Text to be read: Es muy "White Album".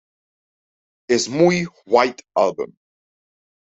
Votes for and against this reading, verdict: 2, 0, accepted